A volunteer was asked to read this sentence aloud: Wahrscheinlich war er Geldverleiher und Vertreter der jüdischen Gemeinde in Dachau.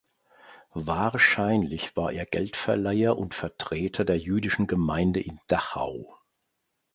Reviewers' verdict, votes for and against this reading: accepted, 2, 0